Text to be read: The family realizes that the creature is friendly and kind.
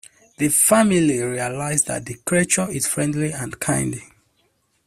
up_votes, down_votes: 0, 2